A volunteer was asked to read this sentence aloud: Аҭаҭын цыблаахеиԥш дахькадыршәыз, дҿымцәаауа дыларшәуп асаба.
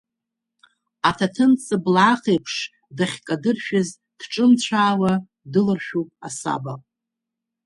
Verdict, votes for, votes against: rejected, 1, 2